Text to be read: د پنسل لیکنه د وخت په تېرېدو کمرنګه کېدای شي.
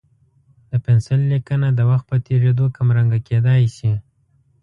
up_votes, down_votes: 2, 0